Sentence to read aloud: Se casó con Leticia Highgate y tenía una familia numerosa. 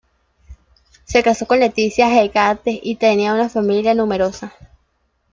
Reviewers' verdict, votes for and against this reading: accepted, 2, 0